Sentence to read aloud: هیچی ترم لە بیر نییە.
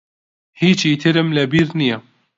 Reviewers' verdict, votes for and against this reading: accepted, 2, 0